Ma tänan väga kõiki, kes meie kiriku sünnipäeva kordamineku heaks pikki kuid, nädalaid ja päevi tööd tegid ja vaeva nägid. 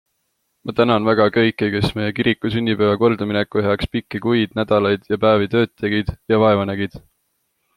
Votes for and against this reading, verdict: 2, 0, accepted